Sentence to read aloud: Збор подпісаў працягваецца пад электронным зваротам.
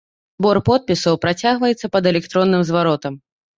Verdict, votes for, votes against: rejected, 1, 2